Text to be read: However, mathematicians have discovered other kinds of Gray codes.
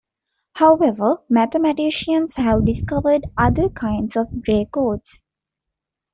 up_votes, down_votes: 2, 0